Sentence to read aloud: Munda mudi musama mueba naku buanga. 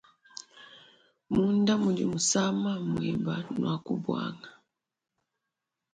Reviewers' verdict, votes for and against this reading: accepted, 2, 1